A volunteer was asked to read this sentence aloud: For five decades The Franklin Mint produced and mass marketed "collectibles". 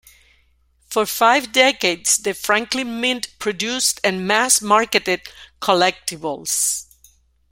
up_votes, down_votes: 2, 0